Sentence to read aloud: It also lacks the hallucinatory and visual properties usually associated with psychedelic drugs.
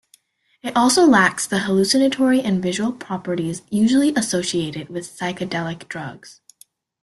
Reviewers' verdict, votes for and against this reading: accepted, 2, 0